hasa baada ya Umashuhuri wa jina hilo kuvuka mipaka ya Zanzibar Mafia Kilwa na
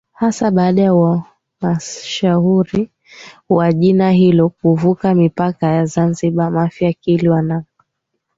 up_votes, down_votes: 0, 2